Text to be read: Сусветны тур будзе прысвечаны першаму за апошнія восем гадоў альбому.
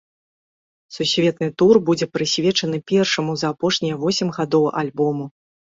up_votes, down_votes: 2, 1